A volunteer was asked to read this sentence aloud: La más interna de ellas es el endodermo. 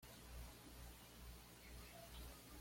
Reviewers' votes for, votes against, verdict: 1, 2, rejected